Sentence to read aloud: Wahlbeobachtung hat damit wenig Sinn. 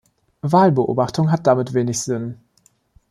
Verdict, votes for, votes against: accepted, 2, 0